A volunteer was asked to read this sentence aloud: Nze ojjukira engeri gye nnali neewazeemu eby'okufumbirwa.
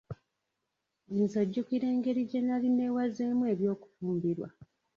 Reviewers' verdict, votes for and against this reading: rejected, 1, 2